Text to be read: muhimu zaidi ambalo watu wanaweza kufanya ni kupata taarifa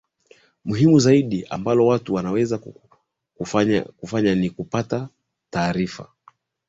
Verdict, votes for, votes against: rejected, 0, 2